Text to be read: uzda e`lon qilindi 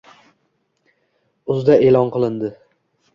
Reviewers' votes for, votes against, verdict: 1, 2, rejected